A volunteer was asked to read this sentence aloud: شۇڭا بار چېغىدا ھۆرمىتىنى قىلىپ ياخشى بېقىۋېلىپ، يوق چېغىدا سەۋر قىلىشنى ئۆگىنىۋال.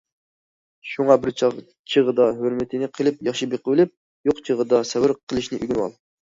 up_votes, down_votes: 0, 2